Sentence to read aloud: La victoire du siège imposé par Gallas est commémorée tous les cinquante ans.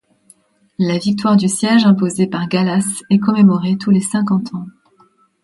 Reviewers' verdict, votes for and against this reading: accepted, 2, 0